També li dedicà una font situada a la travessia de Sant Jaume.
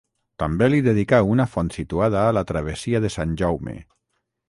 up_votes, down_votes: 6, 0